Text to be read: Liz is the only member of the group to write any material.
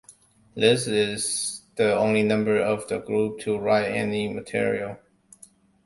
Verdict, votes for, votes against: rejected, 0, 2